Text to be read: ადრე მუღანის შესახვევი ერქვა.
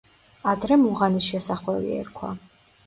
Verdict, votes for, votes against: accepted, 2, 0